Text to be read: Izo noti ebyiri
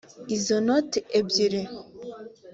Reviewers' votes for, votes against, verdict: 2, 0, accepted